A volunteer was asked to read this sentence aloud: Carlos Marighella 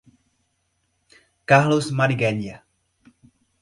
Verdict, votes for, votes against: rejected, 0, 2